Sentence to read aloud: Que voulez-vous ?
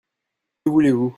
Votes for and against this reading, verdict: 0, 2, rejected